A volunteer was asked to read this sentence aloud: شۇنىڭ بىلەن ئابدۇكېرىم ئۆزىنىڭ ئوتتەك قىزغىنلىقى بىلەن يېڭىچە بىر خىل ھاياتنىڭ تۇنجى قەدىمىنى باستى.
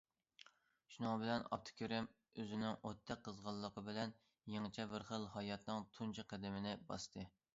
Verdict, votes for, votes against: accepted, 2, 0